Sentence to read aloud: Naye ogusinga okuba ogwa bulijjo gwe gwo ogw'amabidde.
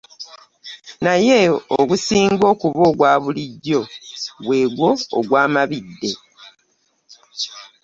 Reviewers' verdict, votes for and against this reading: accepted, 2, 0